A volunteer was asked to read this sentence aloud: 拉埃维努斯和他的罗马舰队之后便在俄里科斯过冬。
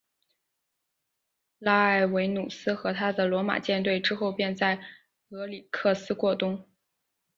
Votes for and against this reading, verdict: 1, 2, rejected